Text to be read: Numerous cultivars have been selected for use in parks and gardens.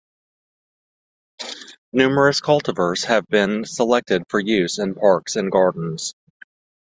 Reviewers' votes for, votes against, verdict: 2, 0, accepted